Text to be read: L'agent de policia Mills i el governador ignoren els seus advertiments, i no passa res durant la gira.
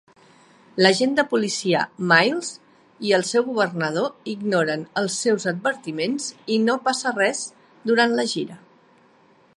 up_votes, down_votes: 0, 2